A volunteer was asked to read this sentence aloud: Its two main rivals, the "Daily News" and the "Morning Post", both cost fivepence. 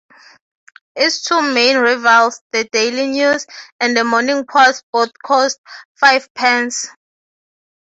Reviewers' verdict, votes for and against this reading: rejected, 3, 3